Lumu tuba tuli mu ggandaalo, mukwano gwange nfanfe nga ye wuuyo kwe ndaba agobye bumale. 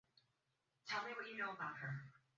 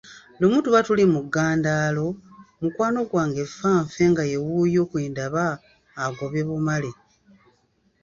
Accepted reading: second